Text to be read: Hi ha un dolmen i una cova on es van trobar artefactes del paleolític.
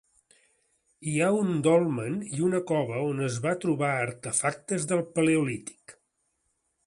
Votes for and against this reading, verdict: 1, 2, rejected